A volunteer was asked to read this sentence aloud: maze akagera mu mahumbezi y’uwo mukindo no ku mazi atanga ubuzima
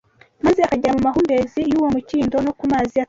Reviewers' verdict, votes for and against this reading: rejected, 0, 2